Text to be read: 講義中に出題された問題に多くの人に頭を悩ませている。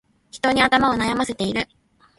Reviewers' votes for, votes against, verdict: 0, 2, rejected